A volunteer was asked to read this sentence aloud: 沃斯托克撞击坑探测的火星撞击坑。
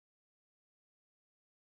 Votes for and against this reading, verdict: 0, 2, rejected